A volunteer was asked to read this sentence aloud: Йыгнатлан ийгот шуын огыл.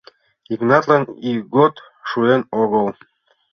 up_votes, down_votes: 1, 2